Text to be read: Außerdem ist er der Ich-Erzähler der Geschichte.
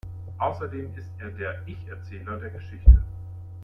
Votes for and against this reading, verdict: 1, 2, rejected